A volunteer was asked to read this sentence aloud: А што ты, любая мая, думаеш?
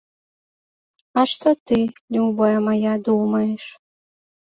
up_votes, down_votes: 2, 0